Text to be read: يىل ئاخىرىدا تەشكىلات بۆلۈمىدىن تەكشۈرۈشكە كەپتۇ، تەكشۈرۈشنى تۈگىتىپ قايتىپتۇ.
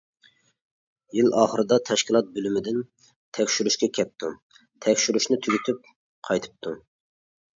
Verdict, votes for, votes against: accepted, 2, 0